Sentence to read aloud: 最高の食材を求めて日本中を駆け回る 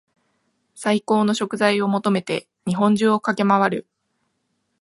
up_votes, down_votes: 2, 0